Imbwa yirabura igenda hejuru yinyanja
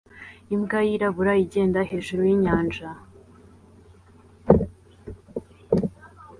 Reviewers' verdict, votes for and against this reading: accepted, 2, 0